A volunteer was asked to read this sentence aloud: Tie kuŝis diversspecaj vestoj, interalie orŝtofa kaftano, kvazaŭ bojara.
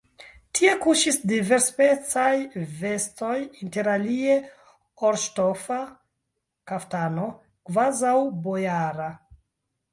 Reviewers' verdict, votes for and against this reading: rejected, 1, 2